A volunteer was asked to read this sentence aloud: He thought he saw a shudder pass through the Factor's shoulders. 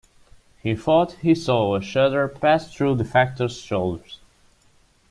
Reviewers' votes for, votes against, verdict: 2, 0, accepted